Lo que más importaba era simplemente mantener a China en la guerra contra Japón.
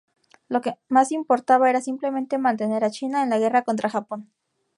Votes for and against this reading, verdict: 2, 0, accepted